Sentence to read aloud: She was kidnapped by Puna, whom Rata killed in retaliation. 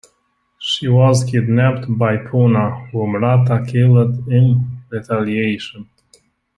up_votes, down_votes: 2, 0